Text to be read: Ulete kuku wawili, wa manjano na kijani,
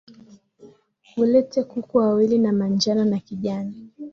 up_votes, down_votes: 5, 0